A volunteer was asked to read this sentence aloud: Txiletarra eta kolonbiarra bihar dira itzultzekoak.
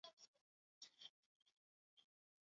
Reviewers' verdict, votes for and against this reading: rejected, 0, 6